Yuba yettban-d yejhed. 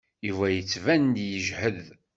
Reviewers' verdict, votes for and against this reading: accepted, 2, 0